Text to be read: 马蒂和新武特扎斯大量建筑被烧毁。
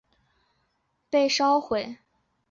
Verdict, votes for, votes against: rejected, 0, 3